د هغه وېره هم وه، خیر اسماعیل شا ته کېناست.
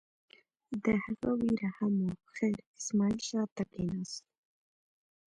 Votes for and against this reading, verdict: 2, 0, accepted